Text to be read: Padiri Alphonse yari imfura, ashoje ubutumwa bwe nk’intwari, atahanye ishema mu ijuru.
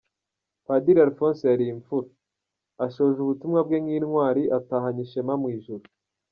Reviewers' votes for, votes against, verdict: 2, 0, accepted